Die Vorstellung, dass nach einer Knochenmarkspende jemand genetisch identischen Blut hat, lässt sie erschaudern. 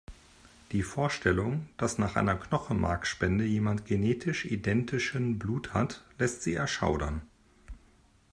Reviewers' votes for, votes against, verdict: 2, 0, accepted